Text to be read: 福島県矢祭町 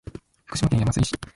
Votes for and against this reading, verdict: 0, 2, rejected